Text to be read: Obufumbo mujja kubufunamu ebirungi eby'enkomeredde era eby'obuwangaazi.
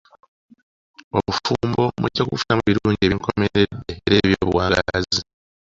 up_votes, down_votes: 0, 2